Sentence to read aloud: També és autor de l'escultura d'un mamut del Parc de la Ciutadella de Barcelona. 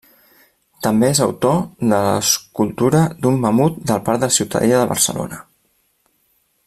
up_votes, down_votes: 1, 2